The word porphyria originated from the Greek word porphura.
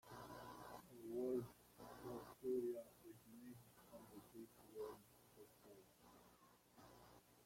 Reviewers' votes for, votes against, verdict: 0, 2, rejected